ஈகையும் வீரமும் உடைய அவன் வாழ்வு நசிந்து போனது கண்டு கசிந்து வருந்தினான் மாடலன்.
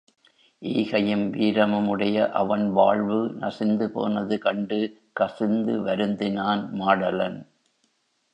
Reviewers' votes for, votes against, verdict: 2, 0, accepted